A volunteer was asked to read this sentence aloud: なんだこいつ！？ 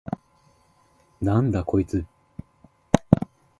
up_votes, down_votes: 3, 0